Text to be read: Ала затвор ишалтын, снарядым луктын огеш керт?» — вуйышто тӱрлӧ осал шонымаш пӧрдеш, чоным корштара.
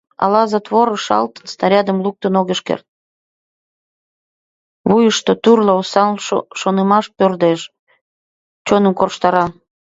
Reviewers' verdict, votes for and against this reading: rejected, 1, 2